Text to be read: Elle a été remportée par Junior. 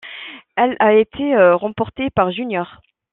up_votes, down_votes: 2, 0